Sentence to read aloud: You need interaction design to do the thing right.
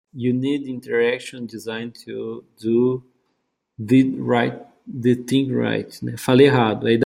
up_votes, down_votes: 0, 2